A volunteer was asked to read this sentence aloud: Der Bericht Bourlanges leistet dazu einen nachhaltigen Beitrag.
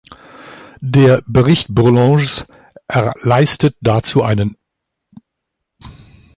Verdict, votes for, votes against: rejected, 0, 2